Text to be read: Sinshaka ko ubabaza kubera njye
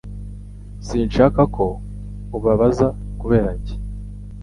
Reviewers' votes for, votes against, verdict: 2, 0, accepted